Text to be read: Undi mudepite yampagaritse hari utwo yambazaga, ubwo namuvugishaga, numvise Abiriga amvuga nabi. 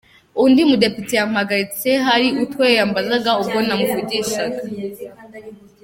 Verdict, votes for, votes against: rejected, 0, 2